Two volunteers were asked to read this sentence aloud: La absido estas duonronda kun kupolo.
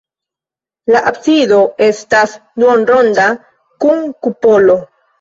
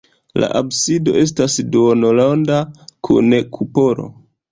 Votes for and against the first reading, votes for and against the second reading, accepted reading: 2, 1, 0, 2, first